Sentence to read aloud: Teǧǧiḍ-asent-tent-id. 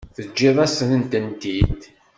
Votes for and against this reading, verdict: 2, 0, accepted